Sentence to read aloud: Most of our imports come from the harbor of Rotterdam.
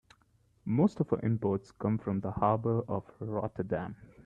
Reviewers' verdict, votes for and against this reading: accepted, 2, 1